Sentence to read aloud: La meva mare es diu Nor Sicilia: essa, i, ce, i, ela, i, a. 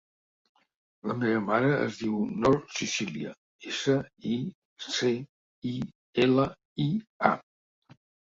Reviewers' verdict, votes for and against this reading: accepted, 2, 0